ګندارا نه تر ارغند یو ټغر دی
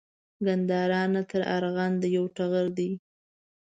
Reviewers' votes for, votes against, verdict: 2, 0, accepted